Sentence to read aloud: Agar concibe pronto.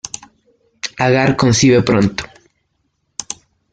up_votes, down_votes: 1, 2